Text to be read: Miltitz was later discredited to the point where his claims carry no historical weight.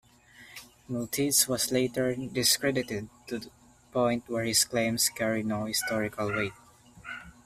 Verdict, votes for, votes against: accepted, 2, 0